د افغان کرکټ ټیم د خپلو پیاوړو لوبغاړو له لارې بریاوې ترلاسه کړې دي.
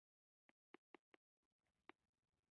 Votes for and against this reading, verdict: 0, 2, rejected